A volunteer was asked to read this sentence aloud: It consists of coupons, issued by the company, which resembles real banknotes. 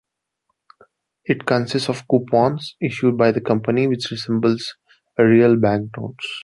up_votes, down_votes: 2, 0